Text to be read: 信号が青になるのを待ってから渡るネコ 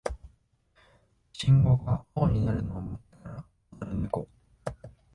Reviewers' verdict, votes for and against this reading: accepted, 2, 1